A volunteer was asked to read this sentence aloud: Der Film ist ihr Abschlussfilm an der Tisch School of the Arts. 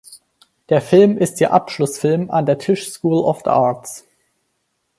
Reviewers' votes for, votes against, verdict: 2, 4, rejected